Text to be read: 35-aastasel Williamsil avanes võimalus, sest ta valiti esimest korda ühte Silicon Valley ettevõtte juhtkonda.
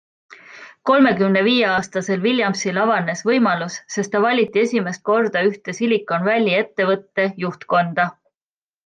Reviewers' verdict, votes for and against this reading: rejected, 0, 2